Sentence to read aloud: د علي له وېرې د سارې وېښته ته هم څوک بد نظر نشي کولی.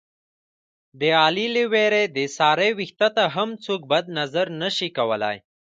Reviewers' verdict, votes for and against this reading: accepted, 2, 1